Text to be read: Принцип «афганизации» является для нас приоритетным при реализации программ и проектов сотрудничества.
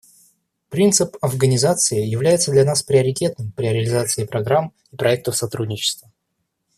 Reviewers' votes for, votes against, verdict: 1, 2, rejected